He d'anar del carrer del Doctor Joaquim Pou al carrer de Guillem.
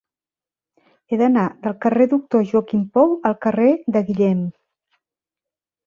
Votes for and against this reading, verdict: 1, 2, rejected